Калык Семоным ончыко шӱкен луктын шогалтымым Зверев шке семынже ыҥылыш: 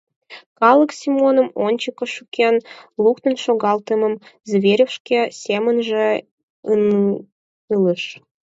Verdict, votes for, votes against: rejected, 2, 4